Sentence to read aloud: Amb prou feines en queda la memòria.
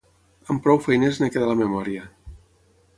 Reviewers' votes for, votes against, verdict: 6, 0, accepted